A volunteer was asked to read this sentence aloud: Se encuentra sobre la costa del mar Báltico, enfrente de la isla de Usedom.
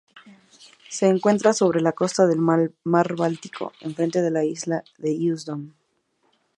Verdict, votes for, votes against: rejected, 0, 2